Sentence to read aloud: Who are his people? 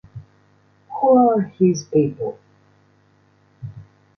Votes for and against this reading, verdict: 0, 2, rejected